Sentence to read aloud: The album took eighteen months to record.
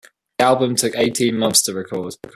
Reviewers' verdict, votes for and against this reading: rejected, 1, 2